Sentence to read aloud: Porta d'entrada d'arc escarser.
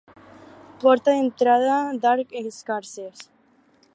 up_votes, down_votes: 0, 2